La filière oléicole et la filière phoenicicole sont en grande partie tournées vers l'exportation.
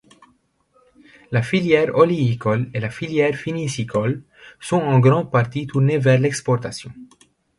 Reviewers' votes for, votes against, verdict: 2, 0, accepted